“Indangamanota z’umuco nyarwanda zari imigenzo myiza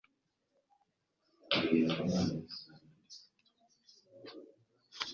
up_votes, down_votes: 1, 2